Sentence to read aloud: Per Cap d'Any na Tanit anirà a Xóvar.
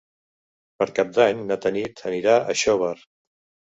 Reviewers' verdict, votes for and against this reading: accepted, 3, 0